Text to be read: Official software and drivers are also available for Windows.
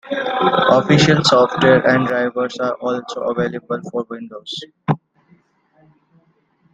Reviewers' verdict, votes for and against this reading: rejected, 0, 2